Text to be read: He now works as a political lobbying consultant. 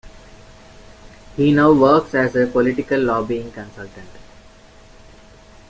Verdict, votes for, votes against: rejected, 1, 2